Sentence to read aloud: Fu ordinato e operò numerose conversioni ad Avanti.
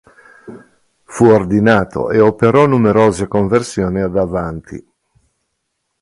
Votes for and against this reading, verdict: 2, 0, accepted